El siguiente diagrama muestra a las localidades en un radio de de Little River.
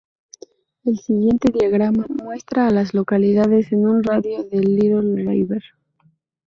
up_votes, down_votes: 0, 2